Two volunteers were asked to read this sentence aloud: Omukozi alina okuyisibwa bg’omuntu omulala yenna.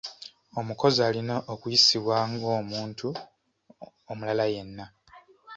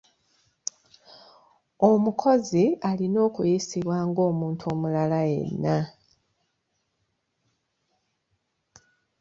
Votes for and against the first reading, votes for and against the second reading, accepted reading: 2, 1, 1, 2, first